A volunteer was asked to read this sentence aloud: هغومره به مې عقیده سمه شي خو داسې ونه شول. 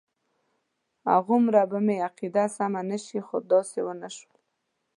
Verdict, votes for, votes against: rejected, 1, 2